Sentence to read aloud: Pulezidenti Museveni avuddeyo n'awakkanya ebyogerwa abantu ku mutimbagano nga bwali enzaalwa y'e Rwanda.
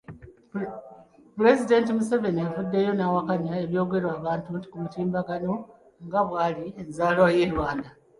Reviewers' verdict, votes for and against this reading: accepted, 2, 1